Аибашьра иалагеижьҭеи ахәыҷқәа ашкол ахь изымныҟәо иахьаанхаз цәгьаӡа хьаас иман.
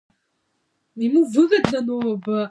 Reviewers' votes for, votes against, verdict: 0, 2, rejected